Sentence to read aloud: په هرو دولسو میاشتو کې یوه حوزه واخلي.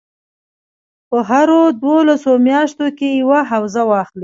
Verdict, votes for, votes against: accepted, 2, 0